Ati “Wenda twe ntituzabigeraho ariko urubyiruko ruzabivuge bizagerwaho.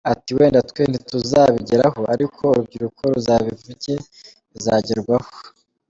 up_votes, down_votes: 2, 0